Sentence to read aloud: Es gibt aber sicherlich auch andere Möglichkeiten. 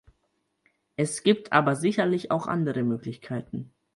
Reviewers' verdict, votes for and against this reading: accepted, 4, 0